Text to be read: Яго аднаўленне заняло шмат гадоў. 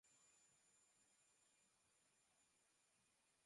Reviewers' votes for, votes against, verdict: 0, 2, rejected